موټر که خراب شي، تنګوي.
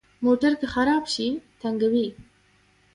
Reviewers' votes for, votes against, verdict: 1, 2, rejected